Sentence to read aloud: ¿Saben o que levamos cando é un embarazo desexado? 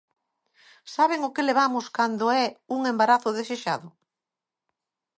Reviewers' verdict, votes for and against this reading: accepted, 2, 0